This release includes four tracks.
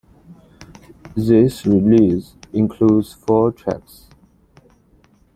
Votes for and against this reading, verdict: 1, 2, rejected